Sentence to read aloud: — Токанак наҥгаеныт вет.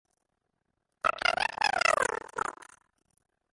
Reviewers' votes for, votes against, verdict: 0, 2, rejected